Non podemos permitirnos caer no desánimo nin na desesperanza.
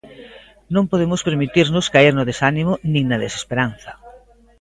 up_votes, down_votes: 2, 0